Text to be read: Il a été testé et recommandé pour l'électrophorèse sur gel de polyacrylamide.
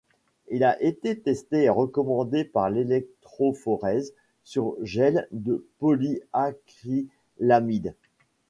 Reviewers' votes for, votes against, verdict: 0, 2, rejected